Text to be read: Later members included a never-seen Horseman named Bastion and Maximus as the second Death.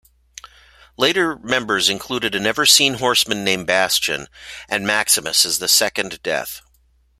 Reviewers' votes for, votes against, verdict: 2, 0, accepted